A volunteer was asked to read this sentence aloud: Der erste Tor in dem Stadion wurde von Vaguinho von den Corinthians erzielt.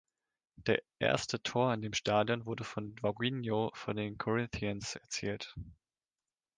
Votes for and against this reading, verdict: 3, 0, accepted